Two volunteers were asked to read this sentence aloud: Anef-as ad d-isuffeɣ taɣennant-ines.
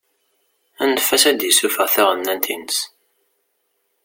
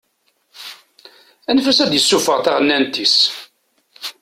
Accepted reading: first